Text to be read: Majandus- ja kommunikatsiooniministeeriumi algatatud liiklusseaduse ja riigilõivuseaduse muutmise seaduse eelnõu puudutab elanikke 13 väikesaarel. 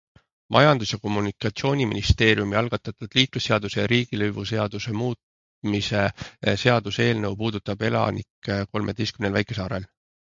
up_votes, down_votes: 0, 2